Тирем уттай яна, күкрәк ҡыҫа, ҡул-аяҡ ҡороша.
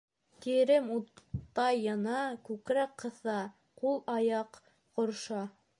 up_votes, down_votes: 1, 2